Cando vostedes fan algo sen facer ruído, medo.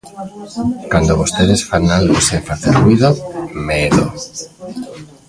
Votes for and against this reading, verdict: 1, 2, rejected